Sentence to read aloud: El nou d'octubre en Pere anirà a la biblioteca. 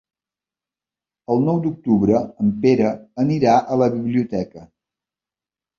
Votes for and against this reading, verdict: 3, 0, accepted